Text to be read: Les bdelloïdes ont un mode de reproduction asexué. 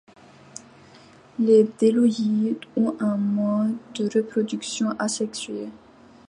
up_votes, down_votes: 2, 0